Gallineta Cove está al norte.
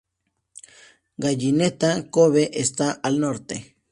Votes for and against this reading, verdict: 4, 0, accepted